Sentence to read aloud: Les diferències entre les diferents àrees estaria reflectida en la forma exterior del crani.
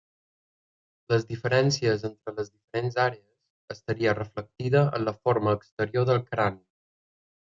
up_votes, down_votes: 1, 2